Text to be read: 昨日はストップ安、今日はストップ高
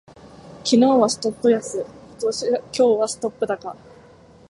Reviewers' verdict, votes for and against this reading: rejected, 1, 2